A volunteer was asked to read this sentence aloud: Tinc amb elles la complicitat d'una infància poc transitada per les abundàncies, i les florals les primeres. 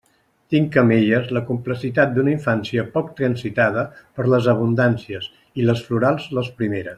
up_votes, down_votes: 0, 2